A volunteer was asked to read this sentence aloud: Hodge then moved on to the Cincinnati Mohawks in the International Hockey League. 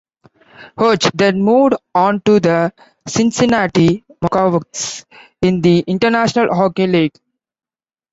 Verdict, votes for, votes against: rejected, 0, 2